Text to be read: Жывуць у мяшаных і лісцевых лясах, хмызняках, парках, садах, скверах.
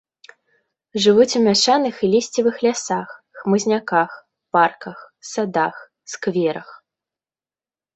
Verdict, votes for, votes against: accepted, 2, 0